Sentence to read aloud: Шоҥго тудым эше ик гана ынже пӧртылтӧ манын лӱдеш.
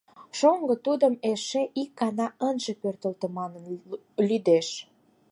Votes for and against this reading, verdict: 4, 2, accepted